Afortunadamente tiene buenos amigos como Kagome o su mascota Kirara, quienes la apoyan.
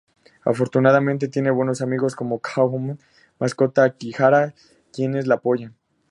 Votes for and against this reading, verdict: 2, 2, rejected